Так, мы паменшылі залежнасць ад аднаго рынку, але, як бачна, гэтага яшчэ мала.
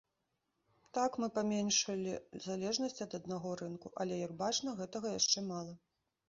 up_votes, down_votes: 2, 0